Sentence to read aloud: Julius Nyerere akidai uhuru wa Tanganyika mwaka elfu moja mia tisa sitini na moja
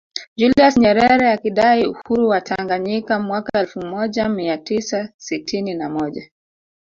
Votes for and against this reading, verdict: 1, 2, rejected